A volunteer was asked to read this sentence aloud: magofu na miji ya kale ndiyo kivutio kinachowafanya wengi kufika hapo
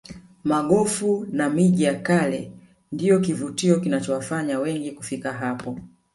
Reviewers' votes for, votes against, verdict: 2, 1, accepted